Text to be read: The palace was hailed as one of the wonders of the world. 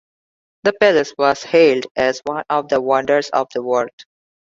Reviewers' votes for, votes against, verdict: 2, 0, accepted